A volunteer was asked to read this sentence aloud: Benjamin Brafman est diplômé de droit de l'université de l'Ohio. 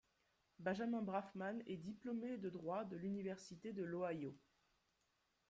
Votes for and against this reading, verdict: 2, 0, accepted